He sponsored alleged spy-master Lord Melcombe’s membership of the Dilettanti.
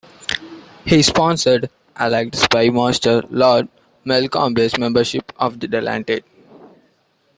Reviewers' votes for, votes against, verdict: 0, 2, rejected